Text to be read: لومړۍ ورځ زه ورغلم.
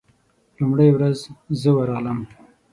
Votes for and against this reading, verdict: 6, 0, accepted